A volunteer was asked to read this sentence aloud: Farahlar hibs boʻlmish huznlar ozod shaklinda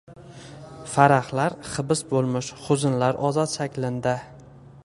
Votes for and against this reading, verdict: 2, 1, accepted